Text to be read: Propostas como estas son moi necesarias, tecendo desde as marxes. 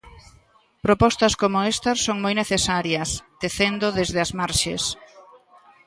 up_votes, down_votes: 2, 0